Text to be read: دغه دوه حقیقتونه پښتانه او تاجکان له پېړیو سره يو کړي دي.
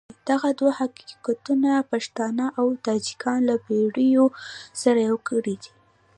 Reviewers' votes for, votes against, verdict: 2, 1, accepted